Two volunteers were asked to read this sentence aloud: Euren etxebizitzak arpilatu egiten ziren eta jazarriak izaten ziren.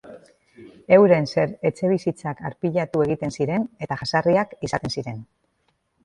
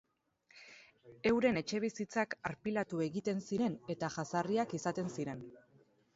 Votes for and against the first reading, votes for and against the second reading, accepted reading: 0, 4, 4, 0, second